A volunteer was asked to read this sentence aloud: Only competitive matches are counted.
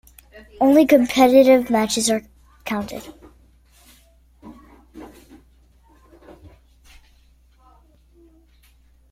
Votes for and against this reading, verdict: 3, 0, accepted